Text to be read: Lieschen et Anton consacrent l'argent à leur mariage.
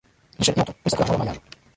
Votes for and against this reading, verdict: 0, 2, rejected